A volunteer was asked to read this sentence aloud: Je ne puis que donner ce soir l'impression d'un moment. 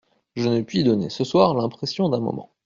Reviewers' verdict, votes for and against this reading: rejected, 0, 2